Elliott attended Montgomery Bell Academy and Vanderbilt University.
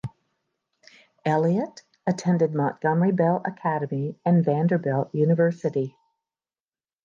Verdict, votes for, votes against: accepted, 2, 0